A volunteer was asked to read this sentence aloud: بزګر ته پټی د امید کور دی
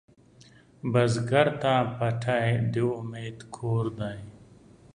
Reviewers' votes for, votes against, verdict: 3, 0, accepted